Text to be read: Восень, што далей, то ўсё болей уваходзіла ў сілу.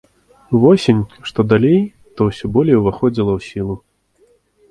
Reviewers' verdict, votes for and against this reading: accepted, 2, 0